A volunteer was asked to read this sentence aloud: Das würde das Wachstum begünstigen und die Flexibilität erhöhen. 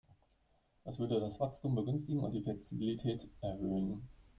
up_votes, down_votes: 1, 2